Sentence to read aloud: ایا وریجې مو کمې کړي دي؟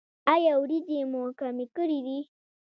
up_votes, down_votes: 1, 2